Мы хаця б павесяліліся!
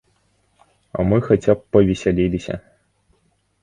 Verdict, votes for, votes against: rejected, 1, 2